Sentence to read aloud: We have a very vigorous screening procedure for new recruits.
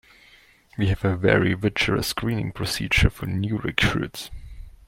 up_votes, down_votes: 0, 2